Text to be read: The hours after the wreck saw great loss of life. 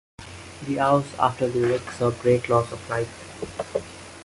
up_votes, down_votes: 2, 0